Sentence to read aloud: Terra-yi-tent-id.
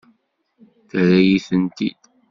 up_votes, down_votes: 2, 0